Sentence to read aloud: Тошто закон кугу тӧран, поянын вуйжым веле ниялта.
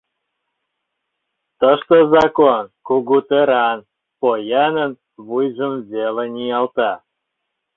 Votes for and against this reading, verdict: 0, 2, rejected